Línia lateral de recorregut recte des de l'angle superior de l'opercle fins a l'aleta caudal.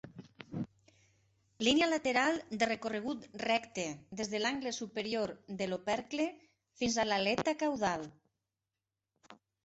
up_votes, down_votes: 2, 0